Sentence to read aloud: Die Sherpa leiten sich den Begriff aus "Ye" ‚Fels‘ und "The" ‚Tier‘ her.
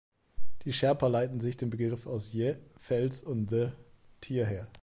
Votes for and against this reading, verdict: 2, 0, accepted